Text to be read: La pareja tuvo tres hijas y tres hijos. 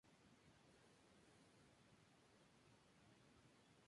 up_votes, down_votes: 0, 2